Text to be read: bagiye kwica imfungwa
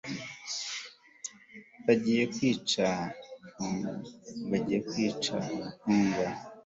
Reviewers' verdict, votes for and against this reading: rejected, 1, 2